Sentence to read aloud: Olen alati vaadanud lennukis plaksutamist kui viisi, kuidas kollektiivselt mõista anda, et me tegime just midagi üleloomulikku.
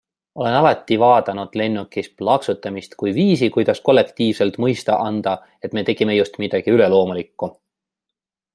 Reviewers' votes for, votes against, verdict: 2, 0, accepted